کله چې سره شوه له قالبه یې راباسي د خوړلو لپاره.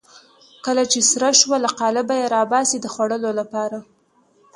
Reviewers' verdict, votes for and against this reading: accepted, 2, 0